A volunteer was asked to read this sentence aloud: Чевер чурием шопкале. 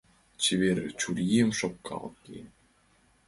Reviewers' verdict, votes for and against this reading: rejected, 1, 2